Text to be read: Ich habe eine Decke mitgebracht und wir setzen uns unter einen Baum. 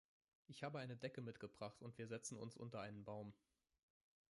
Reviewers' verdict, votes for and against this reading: rejected, 1, 2